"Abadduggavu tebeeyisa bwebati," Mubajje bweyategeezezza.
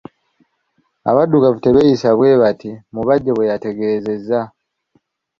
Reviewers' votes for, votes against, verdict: 2, 0, accepted